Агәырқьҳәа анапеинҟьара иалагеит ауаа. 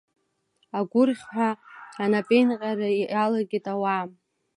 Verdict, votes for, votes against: accepted, 2, 0